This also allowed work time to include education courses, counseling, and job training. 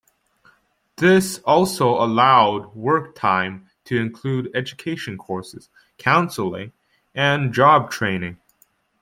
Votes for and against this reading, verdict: 2, 0, accepted